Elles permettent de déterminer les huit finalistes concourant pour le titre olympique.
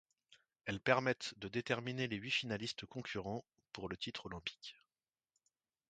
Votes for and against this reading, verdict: 1, 2, rejected